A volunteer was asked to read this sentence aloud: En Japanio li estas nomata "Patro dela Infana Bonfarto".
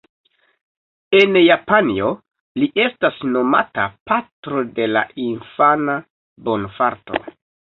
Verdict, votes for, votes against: rejected, 1, 2